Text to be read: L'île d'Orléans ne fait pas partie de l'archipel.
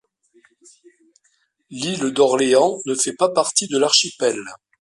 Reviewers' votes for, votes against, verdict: 2, 0, accepted